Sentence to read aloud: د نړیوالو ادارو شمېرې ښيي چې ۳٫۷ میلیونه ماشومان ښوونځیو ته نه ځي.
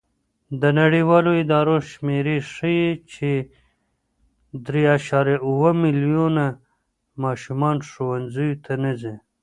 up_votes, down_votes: 0, 2